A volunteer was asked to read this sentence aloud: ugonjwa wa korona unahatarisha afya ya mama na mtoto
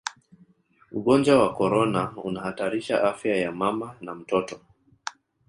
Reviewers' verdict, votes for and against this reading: accepted, 2, 1